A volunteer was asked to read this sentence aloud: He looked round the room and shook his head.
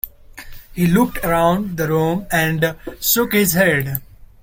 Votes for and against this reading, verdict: 0, 2, rejected